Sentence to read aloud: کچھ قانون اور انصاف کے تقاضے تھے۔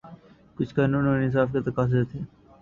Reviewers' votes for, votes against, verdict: 0, 2, rejected